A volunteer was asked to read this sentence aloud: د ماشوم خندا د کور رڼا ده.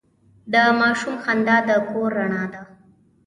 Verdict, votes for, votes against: accepted, 2, 0